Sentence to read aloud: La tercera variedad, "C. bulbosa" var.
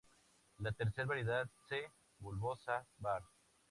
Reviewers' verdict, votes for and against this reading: rejected, 0, 4